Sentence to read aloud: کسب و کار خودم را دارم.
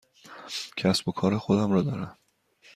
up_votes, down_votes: 2, 0